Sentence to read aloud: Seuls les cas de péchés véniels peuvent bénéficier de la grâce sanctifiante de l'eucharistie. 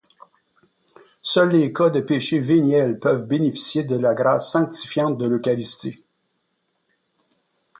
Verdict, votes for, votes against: accepted, 2, 0